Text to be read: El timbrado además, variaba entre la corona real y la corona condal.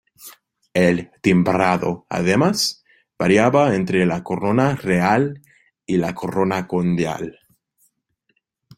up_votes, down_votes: 0, 2